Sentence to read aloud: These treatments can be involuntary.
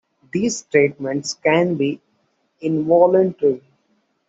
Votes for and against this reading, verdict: 2, 0, accepted